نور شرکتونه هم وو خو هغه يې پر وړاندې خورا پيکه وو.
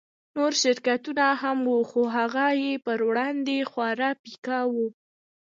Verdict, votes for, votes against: accepted, 2, 0